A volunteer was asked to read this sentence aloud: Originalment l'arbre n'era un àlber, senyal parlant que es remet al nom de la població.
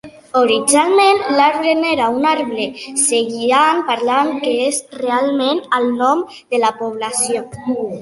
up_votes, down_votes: 0, 2